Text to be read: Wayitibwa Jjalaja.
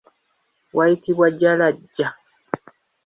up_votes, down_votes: 2, 0